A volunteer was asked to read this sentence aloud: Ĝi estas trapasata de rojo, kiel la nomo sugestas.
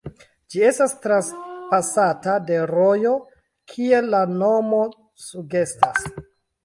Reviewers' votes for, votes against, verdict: 0, 2, rejected